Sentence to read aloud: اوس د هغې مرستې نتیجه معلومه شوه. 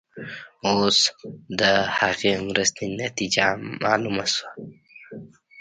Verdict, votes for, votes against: rejected, 0, 2